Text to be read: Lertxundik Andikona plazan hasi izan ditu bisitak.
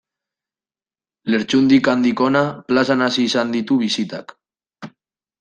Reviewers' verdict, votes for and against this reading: rejected, 1, 2